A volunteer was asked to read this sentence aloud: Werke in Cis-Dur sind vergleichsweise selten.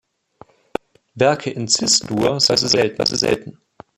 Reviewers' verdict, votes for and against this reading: rejected, 0, 2